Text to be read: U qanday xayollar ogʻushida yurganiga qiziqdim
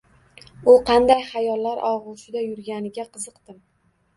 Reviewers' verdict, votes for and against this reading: accepted, 2, 0